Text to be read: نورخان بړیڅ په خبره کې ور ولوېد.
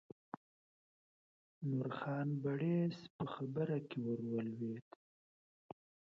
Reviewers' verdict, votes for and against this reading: rejected, 1, 2